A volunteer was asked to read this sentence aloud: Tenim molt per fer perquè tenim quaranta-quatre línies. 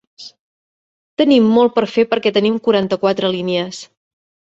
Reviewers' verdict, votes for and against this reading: accepted, 2, 0